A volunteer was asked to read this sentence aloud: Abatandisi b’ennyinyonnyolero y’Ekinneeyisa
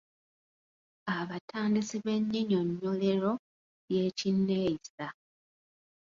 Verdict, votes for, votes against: rejected, 1, 2